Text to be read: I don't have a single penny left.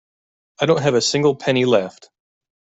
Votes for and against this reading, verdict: 2, 0, accepted